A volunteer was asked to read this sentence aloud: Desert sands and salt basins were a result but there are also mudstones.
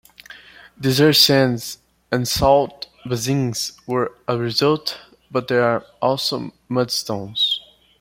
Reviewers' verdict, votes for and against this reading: rejected, 1, 2